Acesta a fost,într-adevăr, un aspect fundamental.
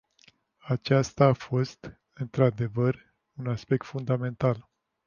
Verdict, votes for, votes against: rejected, 0, 2